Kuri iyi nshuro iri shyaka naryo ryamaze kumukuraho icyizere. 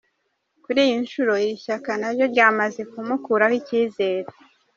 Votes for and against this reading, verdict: 2, 0, accepted